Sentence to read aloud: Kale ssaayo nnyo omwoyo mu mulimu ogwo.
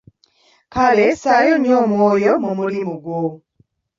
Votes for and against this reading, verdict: 1, 2, rejected